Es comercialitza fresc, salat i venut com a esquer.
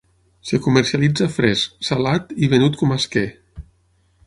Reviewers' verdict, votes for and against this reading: rejected, 3, 6